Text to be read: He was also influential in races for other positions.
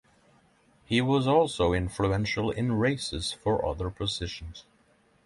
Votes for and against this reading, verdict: 3, 0, accepted